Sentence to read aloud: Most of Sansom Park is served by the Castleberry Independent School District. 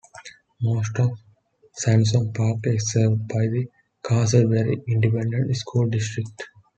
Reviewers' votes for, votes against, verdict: 2, 0, accepted